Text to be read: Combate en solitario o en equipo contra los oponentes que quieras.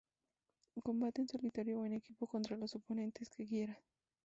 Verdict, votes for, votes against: accepted, 2, 0